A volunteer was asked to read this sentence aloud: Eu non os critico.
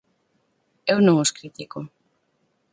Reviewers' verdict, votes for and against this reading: accepted, 4, 0